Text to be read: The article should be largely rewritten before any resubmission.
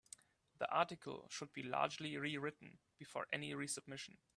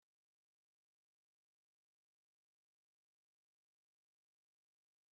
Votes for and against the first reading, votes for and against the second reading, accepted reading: 3, 0, 0, 2, first